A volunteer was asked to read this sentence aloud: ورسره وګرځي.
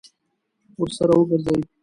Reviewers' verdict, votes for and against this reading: rejected, 1, 2